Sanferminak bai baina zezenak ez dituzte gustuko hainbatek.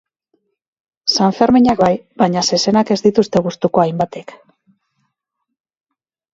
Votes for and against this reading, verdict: 2, 2, rejected